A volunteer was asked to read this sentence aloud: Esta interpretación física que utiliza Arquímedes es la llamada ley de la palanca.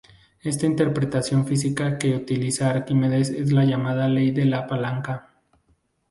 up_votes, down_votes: 2, 0